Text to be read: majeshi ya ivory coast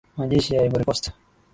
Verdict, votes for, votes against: accepted, 5, 0